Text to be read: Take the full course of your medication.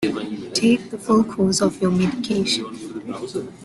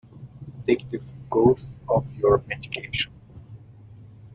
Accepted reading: first